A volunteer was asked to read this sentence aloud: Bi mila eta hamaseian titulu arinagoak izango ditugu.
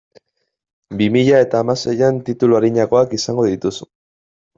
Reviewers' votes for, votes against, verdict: 0, 2, rejected